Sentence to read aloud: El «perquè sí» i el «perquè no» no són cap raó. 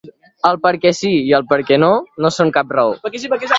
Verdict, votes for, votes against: rejected, 0, 2